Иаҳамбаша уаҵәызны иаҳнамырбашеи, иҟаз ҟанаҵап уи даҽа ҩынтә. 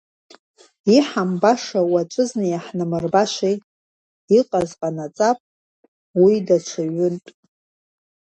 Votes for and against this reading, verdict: 1, 2, rejected